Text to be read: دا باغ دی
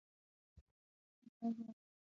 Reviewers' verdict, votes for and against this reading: rejected, 0, 6